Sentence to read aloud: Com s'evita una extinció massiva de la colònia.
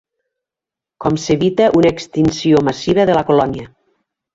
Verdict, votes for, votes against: rejected, 1, 2